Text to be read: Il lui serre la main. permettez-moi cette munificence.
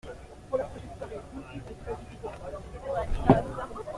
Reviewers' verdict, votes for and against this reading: rejected, 0, 2